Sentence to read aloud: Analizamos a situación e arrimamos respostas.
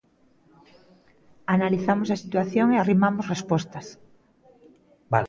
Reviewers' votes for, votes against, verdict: 0, 2, rejected